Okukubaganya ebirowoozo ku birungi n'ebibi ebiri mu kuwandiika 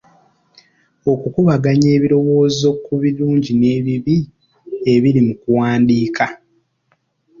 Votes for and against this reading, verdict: 1, 2, rejected